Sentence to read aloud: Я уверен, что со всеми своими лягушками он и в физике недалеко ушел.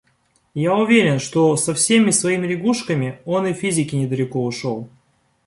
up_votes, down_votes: 2, 0